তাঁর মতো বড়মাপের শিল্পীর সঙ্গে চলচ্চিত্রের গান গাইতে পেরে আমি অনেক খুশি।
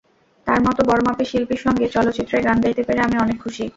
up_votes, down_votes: 0, 2